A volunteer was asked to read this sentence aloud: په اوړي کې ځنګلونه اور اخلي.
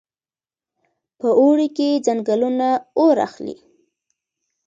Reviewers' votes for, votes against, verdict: 2, 0, accepted